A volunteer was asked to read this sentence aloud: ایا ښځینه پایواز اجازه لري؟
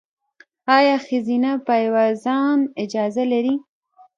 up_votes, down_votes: 0, 2